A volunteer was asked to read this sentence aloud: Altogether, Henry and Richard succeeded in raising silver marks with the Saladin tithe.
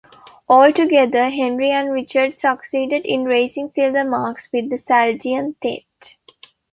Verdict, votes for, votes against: rejected, 1, 2